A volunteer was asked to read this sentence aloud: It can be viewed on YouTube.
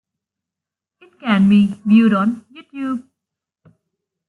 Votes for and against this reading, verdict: 1, 2, rejected